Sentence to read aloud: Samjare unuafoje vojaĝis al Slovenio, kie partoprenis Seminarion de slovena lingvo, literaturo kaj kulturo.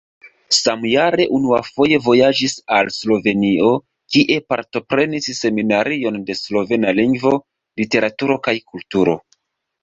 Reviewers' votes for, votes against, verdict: 1, 2, rejected